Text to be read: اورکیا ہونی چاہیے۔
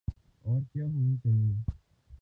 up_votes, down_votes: 4, 5